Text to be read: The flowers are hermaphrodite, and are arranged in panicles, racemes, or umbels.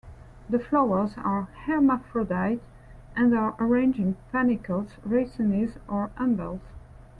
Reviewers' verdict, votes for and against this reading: accepted, 2, 1